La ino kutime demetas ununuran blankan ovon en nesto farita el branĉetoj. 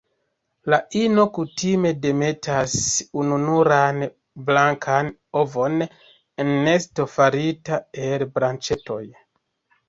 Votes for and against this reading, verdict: 1, 2, rejected